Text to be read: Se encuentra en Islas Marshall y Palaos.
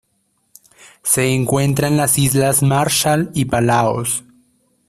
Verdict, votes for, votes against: rejected, 1, 2